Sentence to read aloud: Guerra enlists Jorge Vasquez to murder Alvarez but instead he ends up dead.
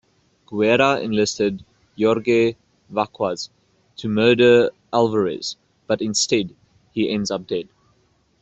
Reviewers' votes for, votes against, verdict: 1, 2, rejected